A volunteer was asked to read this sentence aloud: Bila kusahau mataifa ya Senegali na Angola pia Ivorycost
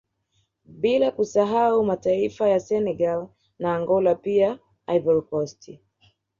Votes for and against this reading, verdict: 2, 0, accepted